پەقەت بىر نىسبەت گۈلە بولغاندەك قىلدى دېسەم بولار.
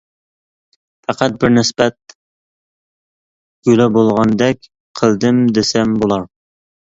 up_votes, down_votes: 1, 2